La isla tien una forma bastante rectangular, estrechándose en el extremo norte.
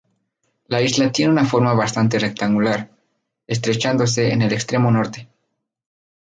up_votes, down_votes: 2, 0